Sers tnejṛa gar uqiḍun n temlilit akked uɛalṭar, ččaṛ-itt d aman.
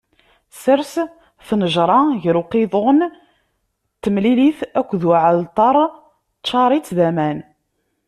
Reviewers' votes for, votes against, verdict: 2, 0, accepted